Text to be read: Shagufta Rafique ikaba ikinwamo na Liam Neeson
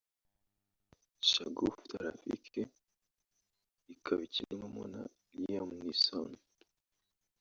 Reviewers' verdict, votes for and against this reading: rejected, 0, 2